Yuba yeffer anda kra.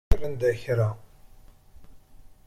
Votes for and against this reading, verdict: 0, 2, rejected